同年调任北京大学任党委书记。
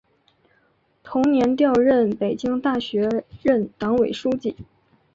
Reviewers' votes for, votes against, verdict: 2, 0, accepted